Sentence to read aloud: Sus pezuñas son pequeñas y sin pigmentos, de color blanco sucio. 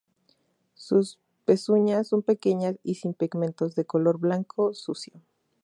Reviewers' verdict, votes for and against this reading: accepted, 2, 0